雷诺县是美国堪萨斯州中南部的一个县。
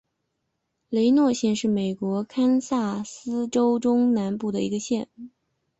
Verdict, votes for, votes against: accepted, 4, 1